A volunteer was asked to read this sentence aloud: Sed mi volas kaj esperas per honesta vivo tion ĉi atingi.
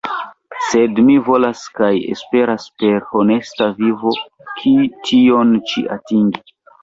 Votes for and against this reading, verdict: 2, 1, accepted